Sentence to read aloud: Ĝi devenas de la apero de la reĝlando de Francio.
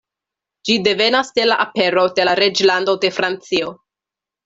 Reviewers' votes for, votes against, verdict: 2, 0, accepted